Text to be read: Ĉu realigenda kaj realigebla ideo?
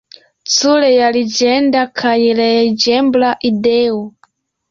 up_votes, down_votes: 2, 1